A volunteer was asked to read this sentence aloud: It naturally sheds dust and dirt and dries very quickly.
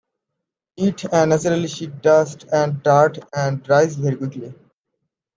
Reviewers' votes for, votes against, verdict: 1, 2, rejected